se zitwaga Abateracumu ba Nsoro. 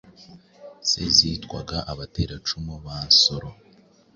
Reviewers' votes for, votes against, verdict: 2, 0, accepted